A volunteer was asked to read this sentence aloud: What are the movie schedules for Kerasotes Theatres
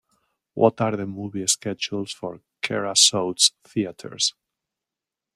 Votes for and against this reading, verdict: 2, 0, accepted